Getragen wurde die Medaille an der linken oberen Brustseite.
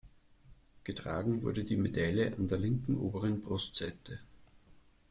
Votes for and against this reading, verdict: 2, 0, accepted